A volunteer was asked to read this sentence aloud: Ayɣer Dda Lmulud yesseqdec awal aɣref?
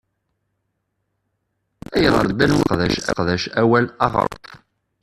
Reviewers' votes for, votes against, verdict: 0, 2, rejected